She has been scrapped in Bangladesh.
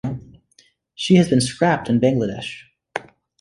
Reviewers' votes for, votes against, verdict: 2, 0, accepted